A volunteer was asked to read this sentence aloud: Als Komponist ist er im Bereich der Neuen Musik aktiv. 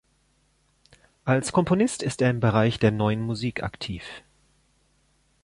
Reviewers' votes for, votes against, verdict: 2, 0, accepted